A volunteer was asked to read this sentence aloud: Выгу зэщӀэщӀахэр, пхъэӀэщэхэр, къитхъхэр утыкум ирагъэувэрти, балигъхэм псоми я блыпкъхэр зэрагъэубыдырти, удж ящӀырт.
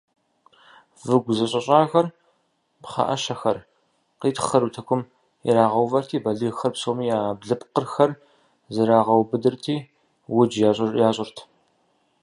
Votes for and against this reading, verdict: 0, 4, rejected